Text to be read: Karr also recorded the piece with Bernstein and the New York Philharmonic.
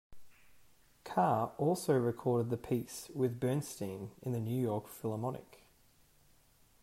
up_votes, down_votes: 2, 1